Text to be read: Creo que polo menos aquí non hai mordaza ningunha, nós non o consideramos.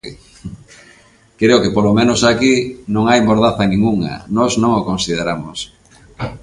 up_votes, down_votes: 6, 0